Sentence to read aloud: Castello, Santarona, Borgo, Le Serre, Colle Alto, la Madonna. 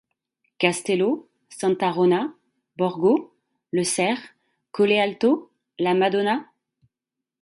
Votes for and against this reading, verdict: 2, 0, accepted